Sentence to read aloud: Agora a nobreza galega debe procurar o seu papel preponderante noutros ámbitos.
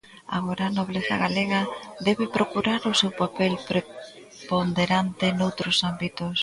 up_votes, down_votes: 0, 2